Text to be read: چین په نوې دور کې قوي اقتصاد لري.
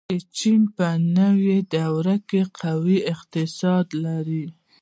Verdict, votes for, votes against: accepted, 2, 0